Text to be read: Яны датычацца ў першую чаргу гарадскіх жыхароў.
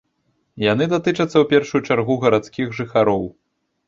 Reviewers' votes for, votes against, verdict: 2, 0, accepted